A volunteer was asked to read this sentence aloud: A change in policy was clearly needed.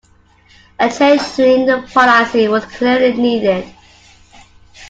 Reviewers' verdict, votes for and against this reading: rejected, 0, 2